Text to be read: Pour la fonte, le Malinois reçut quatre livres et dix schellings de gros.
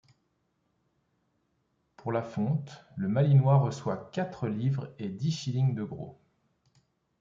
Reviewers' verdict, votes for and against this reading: rejected, 1, 2